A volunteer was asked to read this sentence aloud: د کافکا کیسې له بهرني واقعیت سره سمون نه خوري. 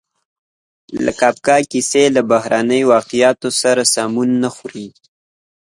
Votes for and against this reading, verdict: 2, 0, accepted